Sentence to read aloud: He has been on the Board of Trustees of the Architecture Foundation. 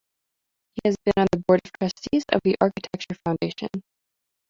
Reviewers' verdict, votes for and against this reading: rejected, 0, 2